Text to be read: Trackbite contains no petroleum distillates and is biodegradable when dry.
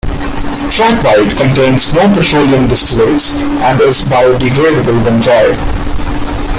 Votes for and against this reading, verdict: 0, 2, rejected